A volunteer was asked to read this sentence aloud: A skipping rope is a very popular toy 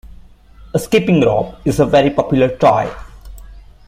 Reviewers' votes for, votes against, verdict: 2, 0, accepted